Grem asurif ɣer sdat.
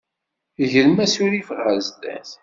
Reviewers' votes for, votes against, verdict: 2, 0, accepted